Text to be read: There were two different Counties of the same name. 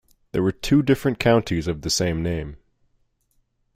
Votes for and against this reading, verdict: 2, 0, accepted